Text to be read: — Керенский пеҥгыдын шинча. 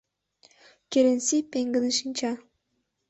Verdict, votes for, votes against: rejected, 0, 2